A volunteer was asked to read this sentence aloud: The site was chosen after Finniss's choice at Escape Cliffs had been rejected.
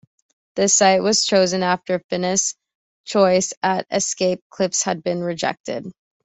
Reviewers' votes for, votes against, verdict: 2, 0, accepted